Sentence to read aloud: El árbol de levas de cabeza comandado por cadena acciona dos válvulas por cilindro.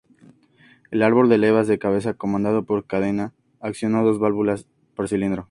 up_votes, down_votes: 4, 0